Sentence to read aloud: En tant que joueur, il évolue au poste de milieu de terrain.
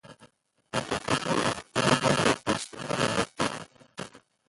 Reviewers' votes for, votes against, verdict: 0, 2, rejected